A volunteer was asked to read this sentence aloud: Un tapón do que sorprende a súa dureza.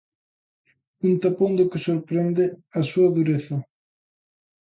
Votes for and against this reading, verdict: 2, 0, accepted